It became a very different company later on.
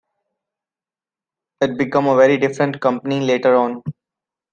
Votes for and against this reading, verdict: 1, 2, rejected